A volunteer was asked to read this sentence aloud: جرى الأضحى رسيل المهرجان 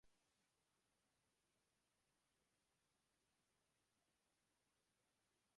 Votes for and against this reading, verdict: 0, 2, rejected